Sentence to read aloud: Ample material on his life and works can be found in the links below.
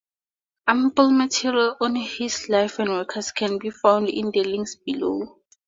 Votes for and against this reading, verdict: 2, 0, accepted